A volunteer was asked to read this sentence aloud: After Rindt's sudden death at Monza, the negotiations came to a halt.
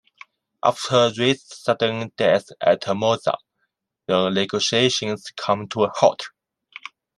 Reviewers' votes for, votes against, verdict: 2, 1, accepted